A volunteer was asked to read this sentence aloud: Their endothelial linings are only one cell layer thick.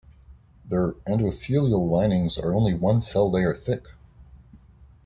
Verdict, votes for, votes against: accepted, 2, 1